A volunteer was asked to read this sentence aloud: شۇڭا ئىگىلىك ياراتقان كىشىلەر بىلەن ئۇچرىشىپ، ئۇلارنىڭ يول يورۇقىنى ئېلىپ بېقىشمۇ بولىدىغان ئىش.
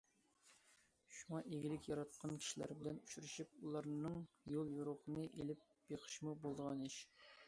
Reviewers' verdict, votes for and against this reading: accepted, 2, 0